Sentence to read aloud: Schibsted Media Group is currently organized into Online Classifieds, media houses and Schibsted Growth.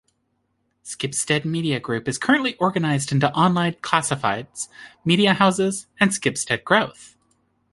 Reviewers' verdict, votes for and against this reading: accepted, 2, 0